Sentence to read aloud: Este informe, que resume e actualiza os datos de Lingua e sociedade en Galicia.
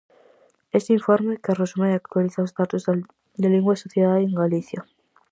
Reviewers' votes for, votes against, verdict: 0, 4, rejected